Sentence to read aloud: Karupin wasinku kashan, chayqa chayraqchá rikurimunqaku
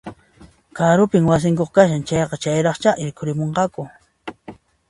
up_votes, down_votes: 2, 0